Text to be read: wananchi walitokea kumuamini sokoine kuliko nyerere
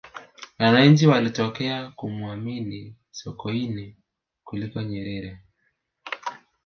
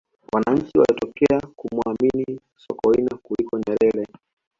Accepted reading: first